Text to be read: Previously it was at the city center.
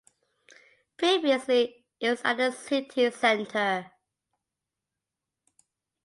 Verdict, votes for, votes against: rejected, 1, 2